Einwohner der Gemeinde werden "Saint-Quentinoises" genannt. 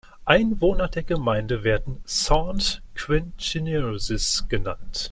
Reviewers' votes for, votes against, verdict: 2, 0, accepted